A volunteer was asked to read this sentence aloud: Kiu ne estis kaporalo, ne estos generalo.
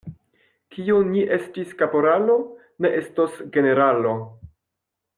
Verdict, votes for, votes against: rejected, 1, 2